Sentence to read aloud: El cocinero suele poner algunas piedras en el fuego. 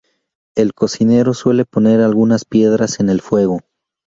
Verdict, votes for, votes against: accepted, 4, 0